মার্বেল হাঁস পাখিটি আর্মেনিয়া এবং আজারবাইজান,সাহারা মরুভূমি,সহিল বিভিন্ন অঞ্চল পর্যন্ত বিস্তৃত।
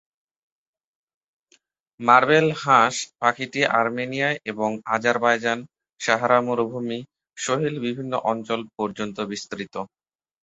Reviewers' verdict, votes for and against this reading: accepted, 3, 1